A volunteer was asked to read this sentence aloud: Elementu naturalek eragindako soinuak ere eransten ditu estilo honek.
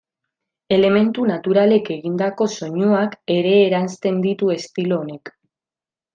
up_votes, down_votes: 1, 2